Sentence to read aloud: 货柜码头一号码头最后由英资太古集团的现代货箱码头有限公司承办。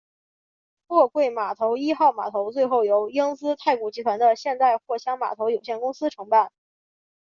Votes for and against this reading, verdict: 2, 0, accepted